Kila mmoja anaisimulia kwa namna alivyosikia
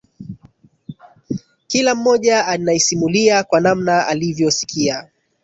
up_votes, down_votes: 2, 0